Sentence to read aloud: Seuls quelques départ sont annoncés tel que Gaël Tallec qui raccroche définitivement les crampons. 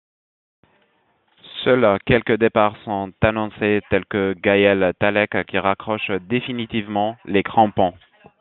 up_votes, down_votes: 2, 1